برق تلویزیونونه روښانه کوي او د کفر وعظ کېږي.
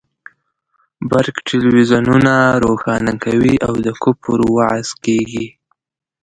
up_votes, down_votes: 0, 2